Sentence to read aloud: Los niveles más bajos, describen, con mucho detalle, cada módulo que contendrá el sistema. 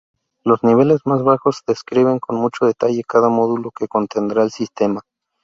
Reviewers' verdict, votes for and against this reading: accepted, 2, 0